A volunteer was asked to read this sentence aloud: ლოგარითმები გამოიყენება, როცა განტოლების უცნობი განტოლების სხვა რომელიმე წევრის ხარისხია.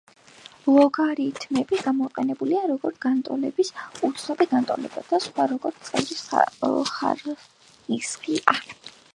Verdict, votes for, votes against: rejected, 0, 3